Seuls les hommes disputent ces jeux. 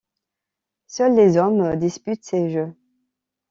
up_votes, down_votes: 2, 0